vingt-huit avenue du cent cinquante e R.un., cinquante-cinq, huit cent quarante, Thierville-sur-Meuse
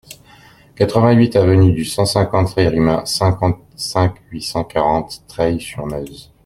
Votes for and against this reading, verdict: 0, 2, rejected